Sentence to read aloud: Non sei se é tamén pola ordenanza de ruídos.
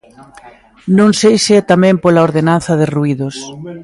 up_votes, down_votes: 1, 2